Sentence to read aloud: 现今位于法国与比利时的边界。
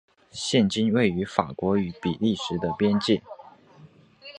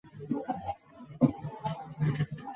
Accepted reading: first